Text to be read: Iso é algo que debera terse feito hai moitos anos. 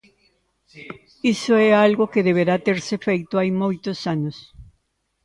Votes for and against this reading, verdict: 1, 2, rejected